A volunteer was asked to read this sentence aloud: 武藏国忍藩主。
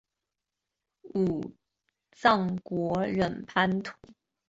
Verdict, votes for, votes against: accepted, 2, 0